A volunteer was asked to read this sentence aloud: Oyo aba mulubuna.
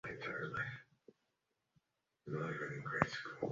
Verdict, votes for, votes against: rejected, 0, 3